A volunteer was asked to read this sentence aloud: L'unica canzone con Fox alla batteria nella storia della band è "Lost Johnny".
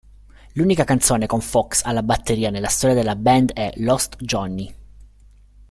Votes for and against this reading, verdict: 2, 0, accepted